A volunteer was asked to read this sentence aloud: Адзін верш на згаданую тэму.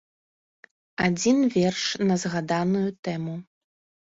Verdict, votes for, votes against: accepted, 3, 0